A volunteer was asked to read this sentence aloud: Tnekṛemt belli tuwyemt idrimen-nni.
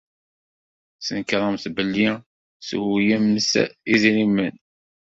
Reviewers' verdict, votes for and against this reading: rejected, 1, 2